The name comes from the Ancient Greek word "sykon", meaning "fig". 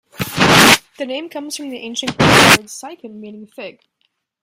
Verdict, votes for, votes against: rejected, 0, 2